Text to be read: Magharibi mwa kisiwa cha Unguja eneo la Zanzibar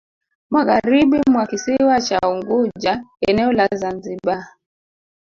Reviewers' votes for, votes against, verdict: 1, 2, rejected